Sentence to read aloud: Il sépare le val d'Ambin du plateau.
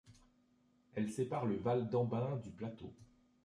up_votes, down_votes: 0, 2